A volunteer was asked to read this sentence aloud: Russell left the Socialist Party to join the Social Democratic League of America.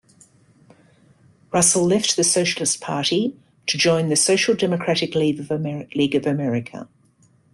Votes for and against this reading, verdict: 1, 3, rejected